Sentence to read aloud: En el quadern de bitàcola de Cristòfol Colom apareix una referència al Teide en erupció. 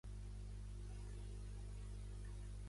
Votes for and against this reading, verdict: 0, 2, rejected